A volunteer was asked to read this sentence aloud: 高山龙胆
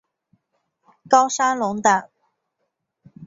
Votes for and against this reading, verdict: 3, 0, accepted